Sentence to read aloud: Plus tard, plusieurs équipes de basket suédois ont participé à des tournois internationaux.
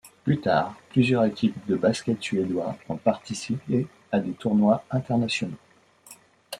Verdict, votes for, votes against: accepted, 2, 0